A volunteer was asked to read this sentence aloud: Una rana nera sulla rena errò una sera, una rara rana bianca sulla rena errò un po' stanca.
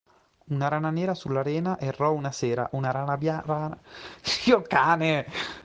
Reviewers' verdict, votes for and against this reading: rejected, 1, 2